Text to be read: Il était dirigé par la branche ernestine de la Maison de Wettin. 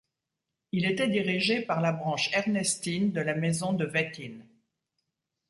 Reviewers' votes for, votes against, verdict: 2, 0, accepted